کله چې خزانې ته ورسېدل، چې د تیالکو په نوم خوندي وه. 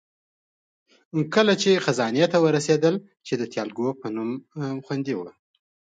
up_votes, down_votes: 2, 0